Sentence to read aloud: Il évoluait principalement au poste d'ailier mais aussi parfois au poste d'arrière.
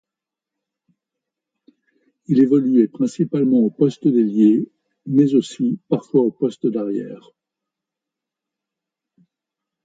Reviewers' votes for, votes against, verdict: 2, 0, accepted